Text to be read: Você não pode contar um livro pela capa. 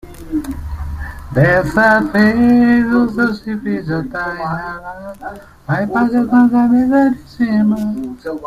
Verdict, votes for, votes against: rejected, 0, 2